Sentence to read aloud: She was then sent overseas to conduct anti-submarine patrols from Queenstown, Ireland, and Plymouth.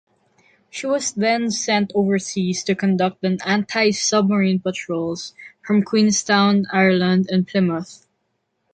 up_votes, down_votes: 0, 2